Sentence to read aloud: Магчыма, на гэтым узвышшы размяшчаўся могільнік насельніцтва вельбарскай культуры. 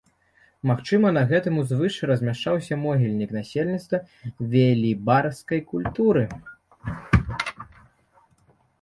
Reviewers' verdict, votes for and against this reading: rejected, 0, 2